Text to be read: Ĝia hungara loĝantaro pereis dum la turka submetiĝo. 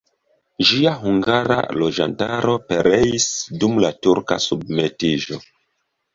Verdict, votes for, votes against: accepted, 2, 0